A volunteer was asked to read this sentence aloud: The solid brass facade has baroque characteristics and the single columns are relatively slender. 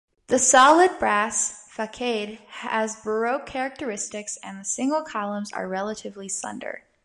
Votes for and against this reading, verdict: 1, 2, rejected